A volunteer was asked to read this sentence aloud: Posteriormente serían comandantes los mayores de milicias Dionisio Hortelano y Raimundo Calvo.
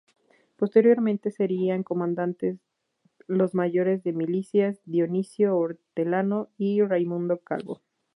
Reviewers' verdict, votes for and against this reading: accepted, 2, 0